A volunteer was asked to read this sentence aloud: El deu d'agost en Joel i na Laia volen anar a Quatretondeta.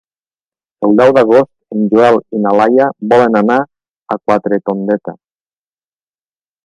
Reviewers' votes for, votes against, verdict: 1, 2, rejected